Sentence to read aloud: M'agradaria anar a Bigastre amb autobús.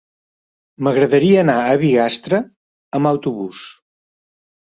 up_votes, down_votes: 2, 0